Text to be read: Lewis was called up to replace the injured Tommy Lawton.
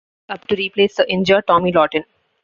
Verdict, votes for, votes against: rejected, 0, 2